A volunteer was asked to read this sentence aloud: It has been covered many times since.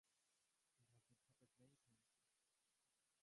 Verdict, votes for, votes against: rejected, 0, 3